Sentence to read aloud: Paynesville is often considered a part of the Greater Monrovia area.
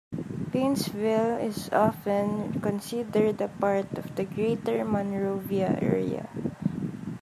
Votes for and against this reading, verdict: 2, 0, accepted